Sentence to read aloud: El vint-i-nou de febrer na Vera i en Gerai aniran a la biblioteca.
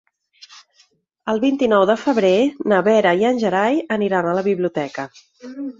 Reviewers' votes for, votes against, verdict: 6, 0, accepted